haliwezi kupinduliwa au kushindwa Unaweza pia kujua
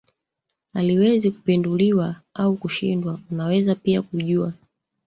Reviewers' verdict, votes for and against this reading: rejected, 0, 2